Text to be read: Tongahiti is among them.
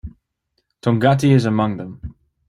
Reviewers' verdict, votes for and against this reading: accepted, 2, 1